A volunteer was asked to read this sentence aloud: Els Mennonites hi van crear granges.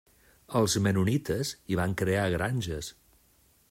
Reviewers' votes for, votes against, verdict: 2, 0, accepted